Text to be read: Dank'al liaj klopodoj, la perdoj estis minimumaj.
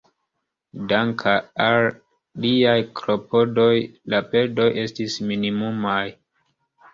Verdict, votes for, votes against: accepted, 2, 0